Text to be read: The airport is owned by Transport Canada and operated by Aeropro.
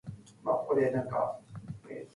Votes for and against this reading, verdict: 0, 2, rejected